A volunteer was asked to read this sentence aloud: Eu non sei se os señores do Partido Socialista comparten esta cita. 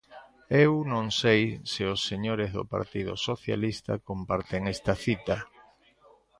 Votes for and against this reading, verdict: 1, 2, rejected